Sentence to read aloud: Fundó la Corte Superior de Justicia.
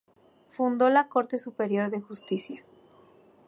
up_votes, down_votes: 0, 2